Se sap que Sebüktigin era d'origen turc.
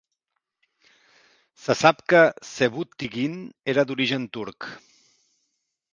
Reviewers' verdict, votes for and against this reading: accepted, 4, 0